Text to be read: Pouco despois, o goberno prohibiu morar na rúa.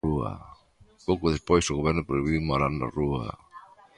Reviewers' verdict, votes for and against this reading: rejected, 0, 2